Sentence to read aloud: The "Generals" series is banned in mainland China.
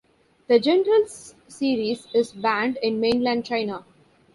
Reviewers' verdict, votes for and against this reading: accepted, 2, 0